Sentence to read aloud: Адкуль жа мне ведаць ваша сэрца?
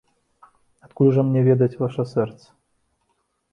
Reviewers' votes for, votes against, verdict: 2, 0, accepted